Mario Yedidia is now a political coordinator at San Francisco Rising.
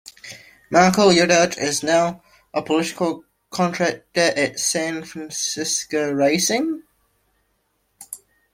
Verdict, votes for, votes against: rejected, 0, 2